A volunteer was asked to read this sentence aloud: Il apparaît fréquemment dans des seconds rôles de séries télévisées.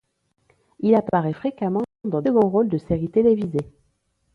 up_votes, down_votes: 2, 1